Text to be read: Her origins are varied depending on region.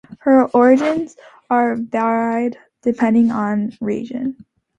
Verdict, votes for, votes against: rejected, 0, 2